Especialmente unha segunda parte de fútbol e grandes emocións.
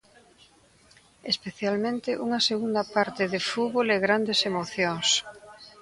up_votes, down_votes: 2, 0